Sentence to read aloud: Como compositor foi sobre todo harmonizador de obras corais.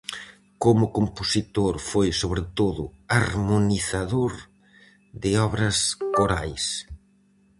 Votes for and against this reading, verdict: 4, 0, accepted